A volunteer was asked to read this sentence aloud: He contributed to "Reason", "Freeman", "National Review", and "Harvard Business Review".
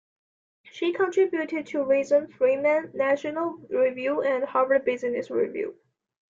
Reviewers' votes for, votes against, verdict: 2, 1, accepted